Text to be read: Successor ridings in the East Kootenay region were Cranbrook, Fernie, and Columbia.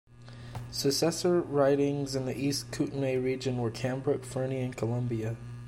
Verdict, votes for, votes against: accepted, 2, 0